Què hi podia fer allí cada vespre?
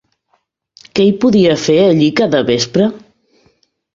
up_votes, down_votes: 3, 0